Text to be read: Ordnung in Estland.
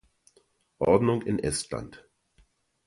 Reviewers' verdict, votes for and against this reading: accepted, 2, 0